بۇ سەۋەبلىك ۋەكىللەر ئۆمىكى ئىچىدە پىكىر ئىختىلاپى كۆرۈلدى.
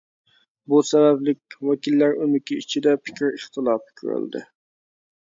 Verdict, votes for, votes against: rejected, 0, 2